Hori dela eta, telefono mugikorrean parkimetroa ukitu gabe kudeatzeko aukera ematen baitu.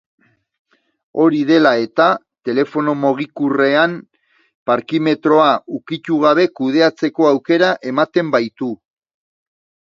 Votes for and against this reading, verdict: 0, 2, rejected